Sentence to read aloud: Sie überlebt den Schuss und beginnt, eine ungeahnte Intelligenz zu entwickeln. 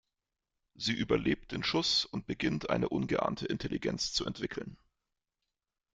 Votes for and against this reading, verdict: 2, 0, accepted